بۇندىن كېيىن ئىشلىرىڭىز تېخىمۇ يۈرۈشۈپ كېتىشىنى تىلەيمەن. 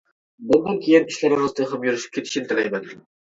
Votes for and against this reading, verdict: 0, 2, rejected